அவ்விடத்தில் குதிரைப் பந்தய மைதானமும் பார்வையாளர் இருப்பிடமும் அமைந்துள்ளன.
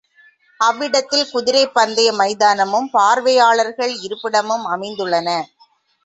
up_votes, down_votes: 1, 2